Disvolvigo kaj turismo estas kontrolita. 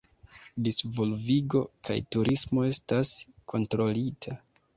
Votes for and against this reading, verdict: 2, 0, accepted